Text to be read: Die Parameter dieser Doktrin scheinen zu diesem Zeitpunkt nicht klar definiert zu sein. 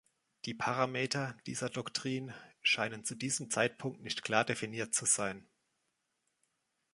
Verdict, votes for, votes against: accepted, 2, 0